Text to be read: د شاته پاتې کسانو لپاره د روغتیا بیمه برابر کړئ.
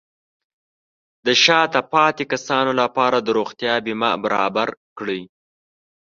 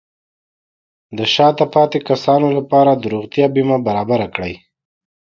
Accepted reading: second